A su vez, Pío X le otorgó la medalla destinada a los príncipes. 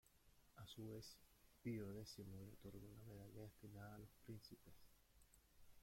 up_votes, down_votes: 1, 2